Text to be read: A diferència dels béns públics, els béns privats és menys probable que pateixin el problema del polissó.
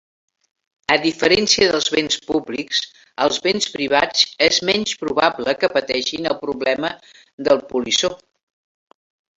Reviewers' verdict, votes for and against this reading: rejected, 1, 3